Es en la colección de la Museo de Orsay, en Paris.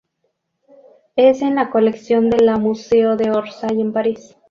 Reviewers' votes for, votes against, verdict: 0, 2, rejected